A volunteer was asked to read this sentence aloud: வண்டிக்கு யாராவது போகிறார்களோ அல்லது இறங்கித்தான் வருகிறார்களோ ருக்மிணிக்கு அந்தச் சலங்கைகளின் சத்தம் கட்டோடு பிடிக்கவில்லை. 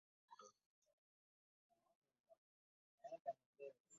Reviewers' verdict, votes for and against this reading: rejected, 0, 2